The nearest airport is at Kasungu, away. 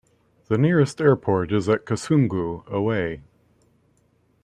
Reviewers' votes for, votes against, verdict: 2, 0, accepted